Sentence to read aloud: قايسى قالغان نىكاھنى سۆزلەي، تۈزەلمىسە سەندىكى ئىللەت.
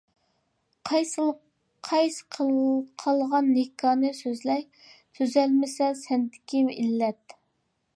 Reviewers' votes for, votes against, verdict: 0, 2, rejected